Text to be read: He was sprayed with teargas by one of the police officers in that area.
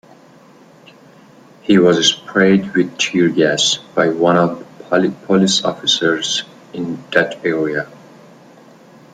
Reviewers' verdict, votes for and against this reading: rejected, 1, 2